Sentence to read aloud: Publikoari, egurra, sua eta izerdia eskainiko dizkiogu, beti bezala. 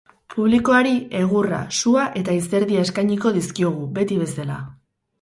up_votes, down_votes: 2, 2